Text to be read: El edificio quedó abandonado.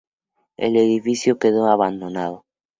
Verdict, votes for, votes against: accepted, 2, 0